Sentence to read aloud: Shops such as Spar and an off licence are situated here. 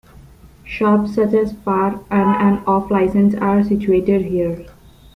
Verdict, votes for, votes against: rejected, 1, 2